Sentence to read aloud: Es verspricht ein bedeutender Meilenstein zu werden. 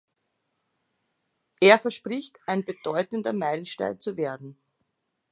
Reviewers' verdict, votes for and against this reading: rejected, 0, 2